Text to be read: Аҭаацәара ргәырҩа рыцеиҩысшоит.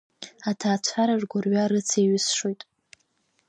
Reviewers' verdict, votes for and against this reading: accepted, 2, 1